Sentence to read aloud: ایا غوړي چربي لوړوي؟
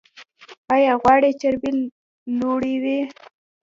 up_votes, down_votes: 1, 2